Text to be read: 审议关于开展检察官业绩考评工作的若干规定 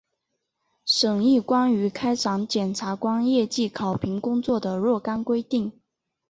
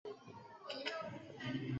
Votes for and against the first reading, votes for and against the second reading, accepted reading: 2, 0, 0, 2, first